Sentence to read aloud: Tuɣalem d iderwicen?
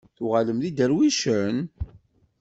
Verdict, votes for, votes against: accepted, 2, 0